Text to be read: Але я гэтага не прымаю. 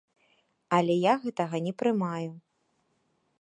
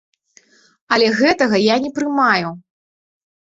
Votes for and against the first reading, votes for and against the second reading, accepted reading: 2, 0, 1, 2, first